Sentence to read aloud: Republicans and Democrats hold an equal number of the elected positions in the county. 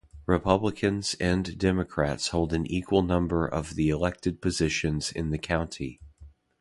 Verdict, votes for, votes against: accepted, 2, 0